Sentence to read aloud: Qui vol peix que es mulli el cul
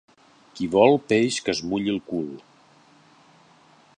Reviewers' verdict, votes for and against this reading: accepted, 2, 0